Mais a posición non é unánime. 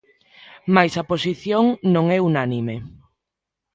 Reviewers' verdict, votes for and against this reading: accepted, 2, 0